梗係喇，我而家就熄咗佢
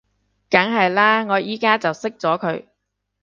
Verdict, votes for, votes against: rejected, 1, 2